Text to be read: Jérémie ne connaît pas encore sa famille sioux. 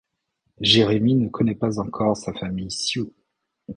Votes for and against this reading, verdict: 2, 0, accepted